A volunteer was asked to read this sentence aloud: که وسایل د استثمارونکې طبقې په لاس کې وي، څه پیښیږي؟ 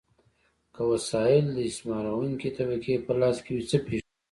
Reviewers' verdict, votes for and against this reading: rejected, 1, 2